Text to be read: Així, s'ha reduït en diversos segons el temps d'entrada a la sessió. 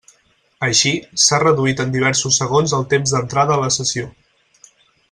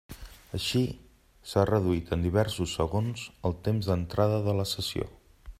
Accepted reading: first